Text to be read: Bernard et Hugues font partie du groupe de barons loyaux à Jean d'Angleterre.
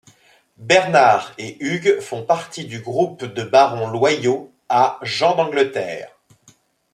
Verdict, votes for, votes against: accepted, 2, 0